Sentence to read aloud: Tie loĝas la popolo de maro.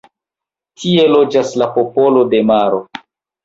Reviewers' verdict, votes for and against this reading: rejected, 0, 2